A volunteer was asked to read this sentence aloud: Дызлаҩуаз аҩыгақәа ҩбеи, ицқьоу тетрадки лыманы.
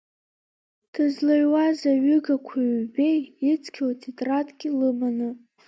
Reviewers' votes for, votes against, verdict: 2, 1, accepted